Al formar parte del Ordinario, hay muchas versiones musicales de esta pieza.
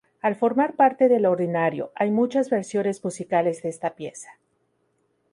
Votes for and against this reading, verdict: 0, 2, rejected